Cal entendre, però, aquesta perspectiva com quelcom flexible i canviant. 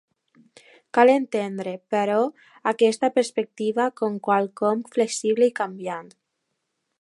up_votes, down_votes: 2, 1